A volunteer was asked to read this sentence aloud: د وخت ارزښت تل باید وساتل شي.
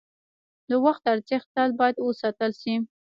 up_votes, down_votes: 1, 2